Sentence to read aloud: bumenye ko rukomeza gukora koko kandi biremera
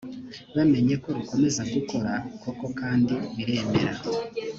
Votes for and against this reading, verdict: 2, 3, rejected